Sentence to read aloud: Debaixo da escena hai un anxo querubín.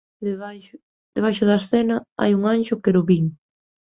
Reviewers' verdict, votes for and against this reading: accepted, 2, 1